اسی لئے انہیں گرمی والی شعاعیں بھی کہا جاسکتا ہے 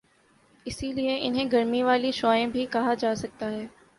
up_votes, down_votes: 3, 0